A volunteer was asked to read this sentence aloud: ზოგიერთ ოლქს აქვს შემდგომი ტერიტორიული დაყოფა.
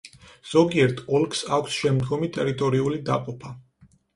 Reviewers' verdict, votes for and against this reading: accepted, 4, 0